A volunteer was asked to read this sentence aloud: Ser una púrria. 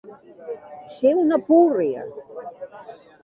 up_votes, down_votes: 1, 2